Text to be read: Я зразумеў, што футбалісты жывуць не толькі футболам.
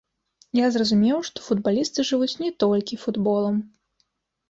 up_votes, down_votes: 2, 1